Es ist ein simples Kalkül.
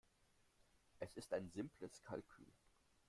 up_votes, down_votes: 0, 2